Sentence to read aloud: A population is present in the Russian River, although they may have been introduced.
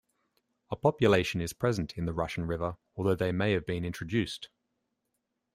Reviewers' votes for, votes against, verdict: 2, 0, accepted